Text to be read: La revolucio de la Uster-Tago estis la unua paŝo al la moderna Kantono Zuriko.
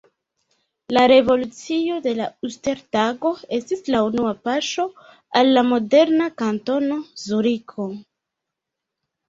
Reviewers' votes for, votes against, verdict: 2, 1, accepted